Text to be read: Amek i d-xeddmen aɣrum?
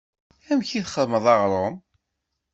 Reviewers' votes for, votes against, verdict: 1, 2, rejected